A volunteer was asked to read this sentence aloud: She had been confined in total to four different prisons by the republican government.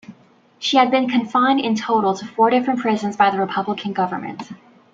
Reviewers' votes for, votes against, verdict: 1, 2, rejected